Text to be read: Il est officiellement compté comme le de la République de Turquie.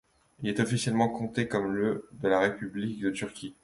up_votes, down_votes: 2, 0